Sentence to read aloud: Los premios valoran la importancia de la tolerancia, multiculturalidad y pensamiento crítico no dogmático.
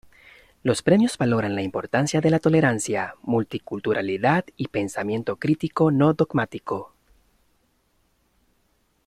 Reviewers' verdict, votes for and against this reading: accepted, 2, 0